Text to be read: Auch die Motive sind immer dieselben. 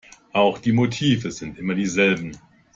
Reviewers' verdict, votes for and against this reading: accepted, 2, 0